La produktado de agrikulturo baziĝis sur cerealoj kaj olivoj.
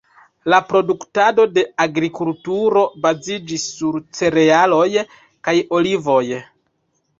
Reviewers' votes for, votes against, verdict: 3, 0, accepted